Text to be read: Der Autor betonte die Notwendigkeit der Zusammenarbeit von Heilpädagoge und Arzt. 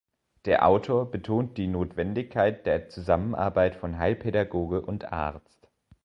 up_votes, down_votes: 1, 2